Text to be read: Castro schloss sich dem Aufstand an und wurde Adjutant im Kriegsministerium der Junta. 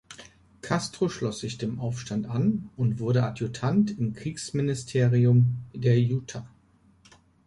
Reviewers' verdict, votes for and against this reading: rejected, 0, 3